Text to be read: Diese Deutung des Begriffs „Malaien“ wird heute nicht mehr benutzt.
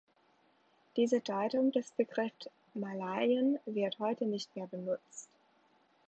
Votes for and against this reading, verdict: 3, 2, accepted